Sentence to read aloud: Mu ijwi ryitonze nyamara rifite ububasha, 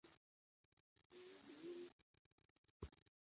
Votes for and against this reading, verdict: 0, 2, rejected